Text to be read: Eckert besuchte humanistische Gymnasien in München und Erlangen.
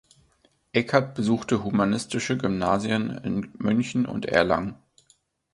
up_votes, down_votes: 1, 2